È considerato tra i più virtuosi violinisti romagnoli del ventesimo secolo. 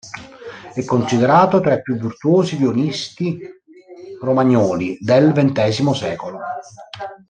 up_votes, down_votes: 2, 3